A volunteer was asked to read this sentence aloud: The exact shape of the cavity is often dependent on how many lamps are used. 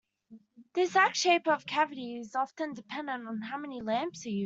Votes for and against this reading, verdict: 0, 2, rejected